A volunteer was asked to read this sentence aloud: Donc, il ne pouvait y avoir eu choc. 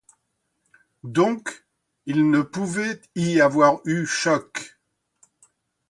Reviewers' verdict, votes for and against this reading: accepted, 2, 0